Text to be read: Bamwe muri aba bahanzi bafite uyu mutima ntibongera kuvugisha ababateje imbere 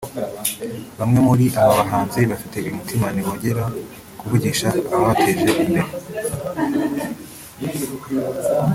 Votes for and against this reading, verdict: 1, 2, rejected